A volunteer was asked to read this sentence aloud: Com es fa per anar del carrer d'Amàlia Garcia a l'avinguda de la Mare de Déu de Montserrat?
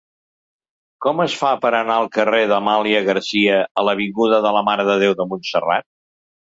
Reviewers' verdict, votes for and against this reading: rejected, 1, 2